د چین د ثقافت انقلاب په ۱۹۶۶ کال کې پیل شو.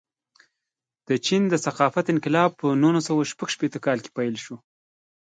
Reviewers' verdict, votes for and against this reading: rejected, 0, 2